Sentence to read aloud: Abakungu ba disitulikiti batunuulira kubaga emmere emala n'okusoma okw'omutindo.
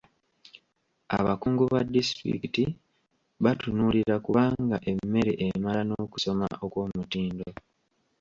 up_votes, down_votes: 0, 2